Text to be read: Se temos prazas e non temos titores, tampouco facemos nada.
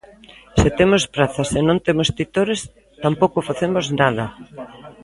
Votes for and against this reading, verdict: 2, 1, accepted